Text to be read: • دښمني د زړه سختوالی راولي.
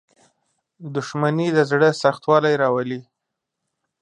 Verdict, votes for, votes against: accepted, 4, 1